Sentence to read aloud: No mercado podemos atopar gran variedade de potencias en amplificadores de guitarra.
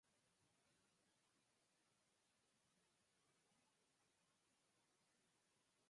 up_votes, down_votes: 0, 4